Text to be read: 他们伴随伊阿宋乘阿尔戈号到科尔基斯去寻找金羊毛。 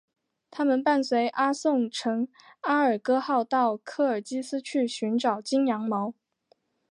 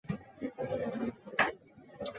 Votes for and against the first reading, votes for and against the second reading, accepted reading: 5, 0, 0, 2, first